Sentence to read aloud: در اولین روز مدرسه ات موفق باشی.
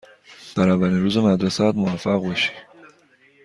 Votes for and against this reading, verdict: 2, 0, accepted